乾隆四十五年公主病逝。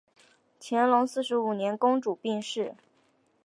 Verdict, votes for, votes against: accepted, 3, 0